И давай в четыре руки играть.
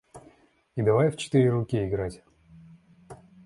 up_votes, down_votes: 2, 0